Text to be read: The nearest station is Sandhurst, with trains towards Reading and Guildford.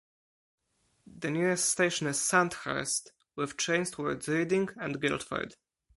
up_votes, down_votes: 4, 0